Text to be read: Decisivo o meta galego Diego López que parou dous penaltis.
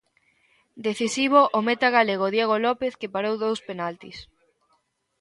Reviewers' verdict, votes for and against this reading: accepted, 2, 0